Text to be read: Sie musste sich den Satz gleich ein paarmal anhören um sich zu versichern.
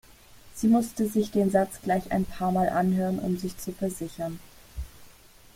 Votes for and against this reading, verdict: 2, 0, accepted